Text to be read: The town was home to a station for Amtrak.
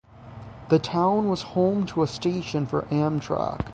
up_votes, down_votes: 6, 0